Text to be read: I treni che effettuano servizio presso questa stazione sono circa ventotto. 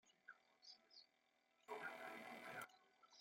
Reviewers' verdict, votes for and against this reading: rejected, 0, 2